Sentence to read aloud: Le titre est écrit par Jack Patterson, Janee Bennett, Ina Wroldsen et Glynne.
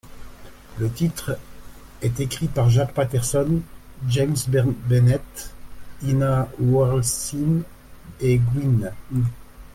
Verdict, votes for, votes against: rejected, 0, 2